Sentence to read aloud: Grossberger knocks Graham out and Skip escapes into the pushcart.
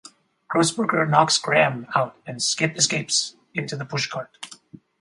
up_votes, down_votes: 4, 0